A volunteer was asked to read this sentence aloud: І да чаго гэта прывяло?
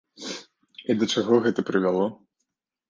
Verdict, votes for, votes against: accepted, 2, 0